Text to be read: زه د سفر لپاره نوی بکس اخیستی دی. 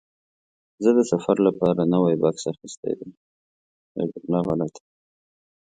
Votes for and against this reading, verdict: 1, 2, rejected